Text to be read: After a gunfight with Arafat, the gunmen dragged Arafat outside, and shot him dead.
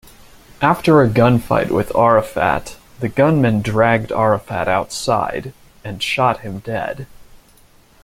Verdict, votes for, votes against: accepted, 2, 0